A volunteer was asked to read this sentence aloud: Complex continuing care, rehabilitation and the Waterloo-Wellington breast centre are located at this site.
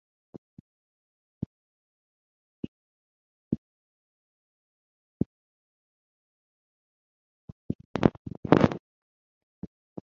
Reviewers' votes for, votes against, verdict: 0, 3, rejected